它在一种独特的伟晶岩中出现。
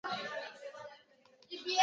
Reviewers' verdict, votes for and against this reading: rejected, 0, 3